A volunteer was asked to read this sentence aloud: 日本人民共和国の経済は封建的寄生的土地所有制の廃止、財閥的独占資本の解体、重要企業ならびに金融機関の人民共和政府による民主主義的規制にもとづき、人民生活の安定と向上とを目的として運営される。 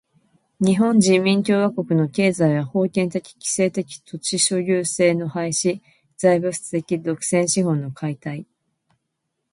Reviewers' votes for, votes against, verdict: 1, 2, rejected